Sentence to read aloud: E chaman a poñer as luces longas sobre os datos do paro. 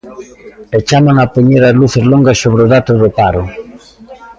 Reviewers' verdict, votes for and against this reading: rejected, 1, 2